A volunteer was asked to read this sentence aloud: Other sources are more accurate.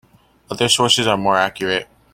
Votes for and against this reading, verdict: 2, 0, accepted